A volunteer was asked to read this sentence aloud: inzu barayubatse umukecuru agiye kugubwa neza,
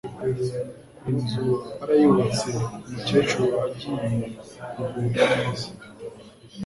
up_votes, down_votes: 2, 0